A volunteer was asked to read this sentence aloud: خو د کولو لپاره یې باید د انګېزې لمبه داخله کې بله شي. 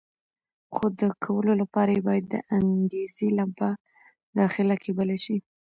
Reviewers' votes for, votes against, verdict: 0, 2, rejected